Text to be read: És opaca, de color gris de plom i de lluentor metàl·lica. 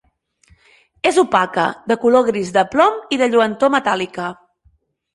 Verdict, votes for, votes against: accepted, 4, 0